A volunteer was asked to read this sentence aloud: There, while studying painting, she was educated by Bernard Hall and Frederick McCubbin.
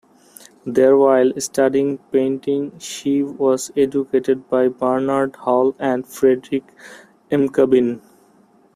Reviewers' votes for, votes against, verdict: 0, 2, rejected